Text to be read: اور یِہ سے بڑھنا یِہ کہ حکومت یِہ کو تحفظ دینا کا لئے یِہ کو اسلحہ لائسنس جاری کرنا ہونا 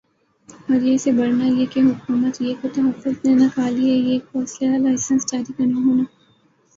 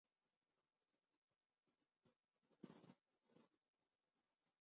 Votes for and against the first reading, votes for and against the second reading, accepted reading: 3, 1, 2, 4, first